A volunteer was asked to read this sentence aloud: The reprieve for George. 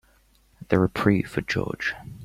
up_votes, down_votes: 3, 0